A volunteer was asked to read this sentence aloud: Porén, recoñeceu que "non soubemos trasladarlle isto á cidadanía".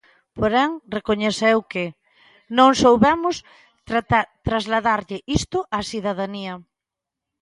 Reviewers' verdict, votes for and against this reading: rejected, 1, 2